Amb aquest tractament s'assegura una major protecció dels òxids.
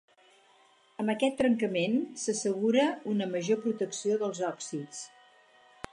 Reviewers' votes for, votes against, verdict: 0, 4, rejected